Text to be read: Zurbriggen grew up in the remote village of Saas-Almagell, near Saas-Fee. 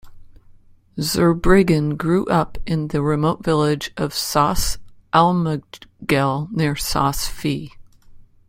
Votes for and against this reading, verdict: 1, 2, rejected